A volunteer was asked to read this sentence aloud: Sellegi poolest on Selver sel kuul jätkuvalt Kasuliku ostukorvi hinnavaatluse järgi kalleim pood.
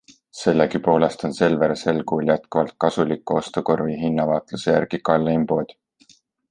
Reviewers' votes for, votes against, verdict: 2, 0, accepted